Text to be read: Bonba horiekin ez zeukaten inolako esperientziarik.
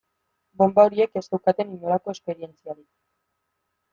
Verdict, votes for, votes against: rejected, 0, 2